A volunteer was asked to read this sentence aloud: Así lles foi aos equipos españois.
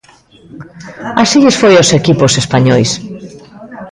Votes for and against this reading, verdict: 1, 2, rejected